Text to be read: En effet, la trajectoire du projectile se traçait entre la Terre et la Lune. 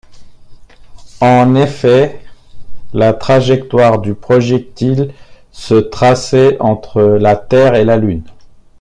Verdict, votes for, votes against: accepted, 3, 0